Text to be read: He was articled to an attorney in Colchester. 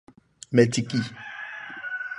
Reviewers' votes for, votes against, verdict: 0, 2, rejected